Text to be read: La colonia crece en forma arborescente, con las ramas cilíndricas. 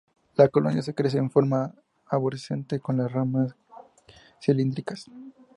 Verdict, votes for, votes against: accepted, 6, 2